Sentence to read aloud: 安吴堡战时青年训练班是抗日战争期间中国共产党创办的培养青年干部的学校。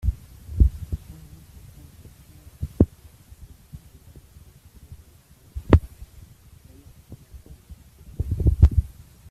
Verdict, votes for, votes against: rejected, 0, 2